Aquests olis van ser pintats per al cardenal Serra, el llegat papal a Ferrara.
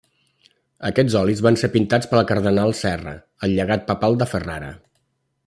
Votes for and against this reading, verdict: 0, 2, rejected